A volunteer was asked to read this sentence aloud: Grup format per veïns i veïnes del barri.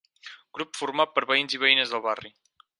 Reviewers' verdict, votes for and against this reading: accepted, 6, 0